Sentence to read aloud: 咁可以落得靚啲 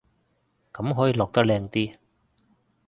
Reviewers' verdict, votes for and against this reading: accepted, 2, 1